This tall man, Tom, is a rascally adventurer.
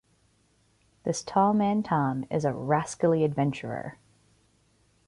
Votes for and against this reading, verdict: 0, 2, rejected